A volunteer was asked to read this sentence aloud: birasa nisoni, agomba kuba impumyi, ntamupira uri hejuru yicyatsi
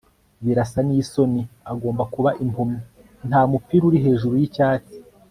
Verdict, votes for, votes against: accepted, 2, 0